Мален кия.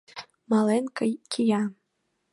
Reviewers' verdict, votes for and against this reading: rejected, 1, 2